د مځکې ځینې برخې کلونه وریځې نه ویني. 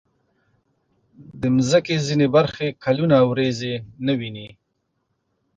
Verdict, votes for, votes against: accepted, 2, 0